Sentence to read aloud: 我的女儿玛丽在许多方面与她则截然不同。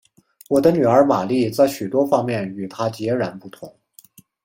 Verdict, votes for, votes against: accepted, 2, 0